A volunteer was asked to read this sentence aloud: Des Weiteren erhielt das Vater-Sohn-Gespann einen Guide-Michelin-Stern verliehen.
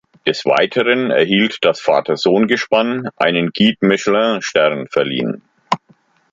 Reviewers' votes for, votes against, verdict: 2, 0, accepted